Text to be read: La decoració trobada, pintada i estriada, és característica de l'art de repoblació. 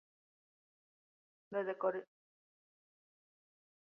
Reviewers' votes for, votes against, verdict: 0, 2, rejected